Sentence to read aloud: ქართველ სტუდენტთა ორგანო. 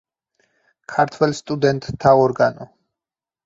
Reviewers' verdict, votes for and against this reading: accepted, 4, 0